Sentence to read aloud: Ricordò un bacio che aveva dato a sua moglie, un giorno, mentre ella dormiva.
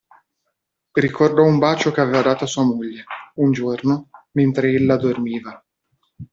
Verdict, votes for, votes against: accepted, 2, 1